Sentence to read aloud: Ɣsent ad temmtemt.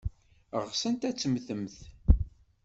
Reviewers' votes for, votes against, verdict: 2, 0, accepted